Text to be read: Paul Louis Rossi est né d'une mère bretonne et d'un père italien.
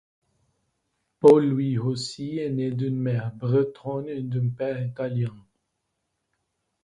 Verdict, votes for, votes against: rejected, 1, 2